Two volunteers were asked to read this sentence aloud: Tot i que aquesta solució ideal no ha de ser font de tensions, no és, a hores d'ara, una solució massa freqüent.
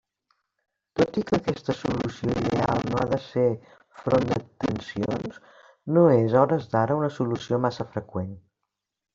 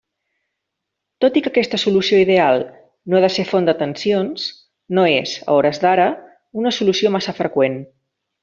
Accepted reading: second